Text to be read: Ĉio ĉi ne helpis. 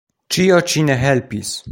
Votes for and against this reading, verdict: 2, 0, accepted